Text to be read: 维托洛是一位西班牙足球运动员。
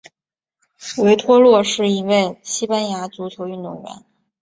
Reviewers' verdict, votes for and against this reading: accepted, 4, 0